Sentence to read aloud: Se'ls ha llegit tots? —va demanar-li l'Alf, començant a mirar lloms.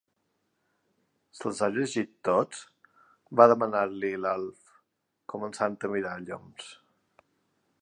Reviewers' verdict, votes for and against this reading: accepted, 2, 0